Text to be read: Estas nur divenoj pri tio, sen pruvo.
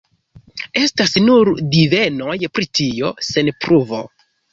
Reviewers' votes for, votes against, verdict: 2, 0, accepted